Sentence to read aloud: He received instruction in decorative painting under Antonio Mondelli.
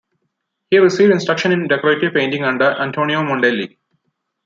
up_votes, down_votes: 2, 0